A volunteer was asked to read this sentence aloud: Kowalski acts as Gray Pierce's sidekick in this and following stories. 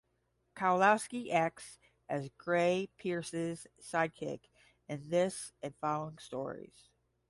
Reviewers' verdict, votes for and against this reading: rejected, 5, 5